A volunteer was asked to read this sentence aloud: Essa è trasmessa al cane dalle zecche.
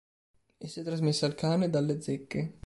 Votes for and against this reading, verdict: 3, 0, accepted